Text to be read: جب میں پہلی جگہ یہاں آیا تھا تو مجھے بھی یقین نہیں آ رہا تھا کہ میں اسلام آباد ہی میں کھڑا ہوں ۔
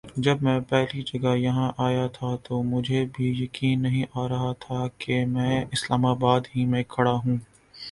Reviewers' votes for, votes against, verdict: 2, 1, accepted